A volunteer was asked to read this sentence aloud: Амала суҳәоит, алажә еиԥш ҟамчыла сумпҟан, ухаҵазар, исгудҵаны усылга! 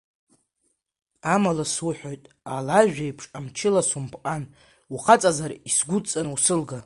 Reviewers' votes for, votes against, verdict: 2, 0, accepted